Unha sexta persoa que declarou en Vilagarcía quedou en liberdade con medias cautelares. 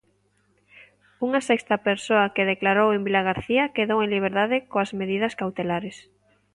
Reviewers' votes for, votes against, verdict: 0, 2, rejected